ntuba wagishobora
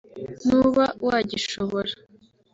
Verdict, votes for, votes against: rejected, 1, 2